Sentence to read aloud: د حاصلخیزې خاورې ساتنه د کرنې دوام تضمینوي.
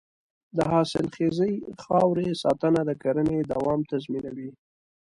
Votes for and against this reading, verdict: 0, 2, rejected